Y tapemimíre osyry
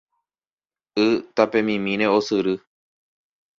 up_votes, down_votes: 2, 0